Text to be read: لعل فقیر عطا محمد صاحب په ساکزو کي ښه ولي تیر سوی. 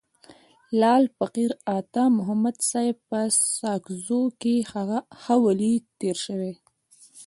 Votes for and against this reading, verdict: 2, 0, accepted